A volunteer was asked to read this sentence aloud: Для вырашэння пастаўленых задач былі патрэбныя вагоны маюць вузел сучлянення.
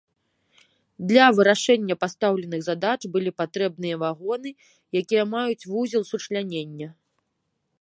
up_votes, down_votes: 0, 2